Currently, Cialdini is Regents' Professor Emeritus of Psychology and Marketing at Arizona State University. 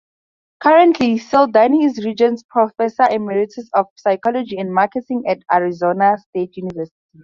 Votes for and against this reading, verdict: 0, 4, rejected